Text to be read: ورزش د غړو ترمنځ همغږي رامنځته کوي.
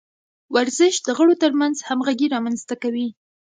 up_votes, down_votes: 2, 0